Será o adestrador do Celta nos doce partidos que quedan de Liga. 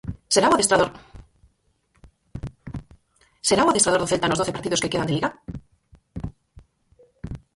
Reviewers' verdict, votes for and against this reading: rejected, 0, 4